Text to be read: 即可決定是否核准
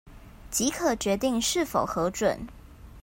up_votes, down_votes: 2, 0